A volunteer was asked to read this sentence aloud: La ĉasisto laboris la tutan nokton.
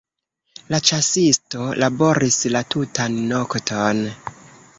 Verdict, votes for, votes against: rejected, 0, 2